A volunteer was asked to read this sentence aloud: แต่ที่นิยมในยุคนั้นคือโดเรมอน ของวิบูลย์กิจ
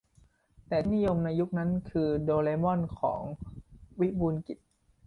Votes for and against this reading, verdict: 2, 0, accepted